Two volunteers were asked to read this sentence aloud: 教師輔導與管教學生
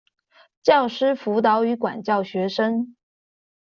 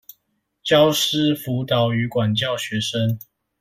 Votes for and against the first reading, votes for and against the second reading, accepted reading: 2, 0, 1, 2, first